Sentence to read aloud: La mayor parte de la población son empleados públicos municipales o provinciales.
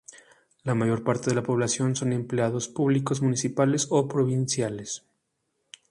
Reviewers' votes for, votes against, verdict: 2, 0, accepted